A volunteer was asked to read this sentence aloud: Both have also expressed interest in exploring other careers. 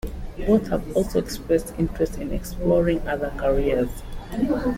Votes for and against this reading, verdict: 2, 0, accepted